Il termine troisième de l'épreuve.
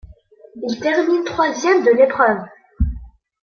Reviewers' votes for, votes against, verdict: 2, 0, accepted